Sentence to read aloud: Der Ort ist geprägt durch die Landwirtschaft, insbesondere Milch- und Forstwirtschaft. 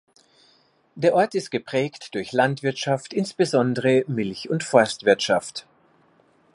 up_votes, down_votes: 1, 2